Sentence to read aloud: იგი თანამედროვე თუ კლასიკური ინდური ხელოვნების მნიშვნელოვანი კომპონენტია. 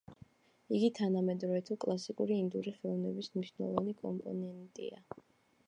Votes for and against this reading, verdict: 2, 0, accepted